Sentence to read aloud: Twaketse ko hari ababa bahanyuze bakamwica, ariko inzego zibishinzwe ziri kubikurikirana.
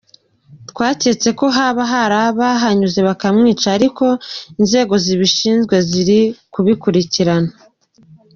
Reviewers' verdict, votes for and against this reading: rejected, 0, 2